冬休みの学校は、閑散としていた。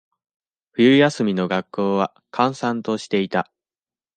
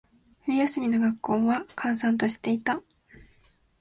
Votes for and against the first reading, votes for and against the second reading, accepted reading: 2, 0, 0, 2, first